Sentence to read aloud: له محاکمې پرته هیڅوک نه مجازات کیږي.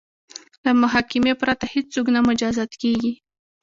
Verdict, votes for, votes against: accepted, 2, 1